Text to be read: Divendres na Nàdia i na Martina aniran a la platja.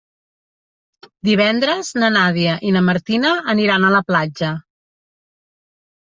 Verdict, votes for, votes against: accepted, 4, 1